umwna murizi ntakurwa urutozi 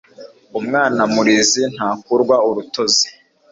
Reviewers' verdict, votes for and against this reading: accepted, 2, 0